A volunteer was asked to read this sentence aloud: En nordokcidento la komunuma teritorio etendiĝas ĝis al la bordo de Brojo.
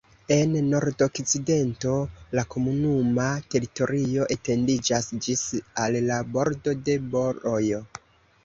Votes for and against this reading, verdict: 0, 2, rejected